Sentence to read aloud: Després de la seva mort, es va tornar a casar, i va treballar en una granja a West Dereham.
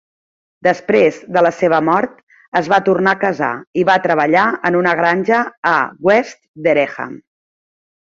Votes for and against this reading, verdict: 2, 0, accepted